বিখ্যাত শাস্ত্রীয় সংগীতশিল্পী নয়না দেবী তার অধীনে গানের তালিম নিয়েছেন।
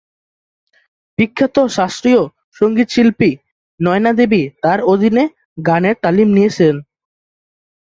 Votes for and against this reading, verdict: 7, 5, accepted